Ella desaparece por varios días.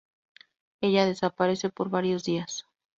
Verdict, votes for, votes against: rejected, 2, 2